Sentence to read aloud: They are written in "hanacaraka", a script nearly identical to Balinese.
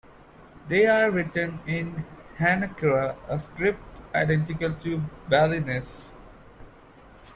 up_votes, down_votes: 1, 2